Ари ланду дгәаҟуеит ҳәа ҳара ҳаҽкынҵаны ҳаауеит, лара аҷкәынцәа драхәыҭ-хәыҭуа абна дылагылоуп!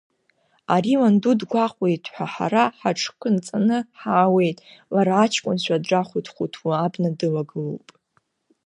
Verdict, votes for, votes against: accepted, 2, 0